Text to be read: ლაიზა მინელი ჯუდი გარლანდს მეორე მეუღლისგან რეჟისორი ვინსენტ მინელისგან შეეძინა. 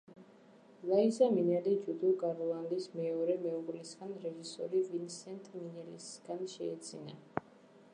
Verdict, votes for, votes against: rejected, 1, 2